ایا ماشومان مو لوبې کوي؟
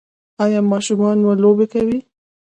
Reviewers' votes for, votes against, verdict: 2, 0, accepted